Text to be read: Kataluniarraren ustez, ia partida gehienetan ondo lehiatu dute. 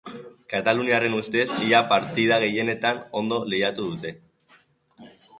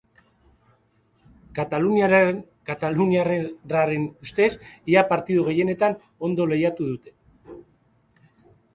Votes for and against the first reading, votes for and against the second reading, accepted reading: 2, 0, 0, 2, first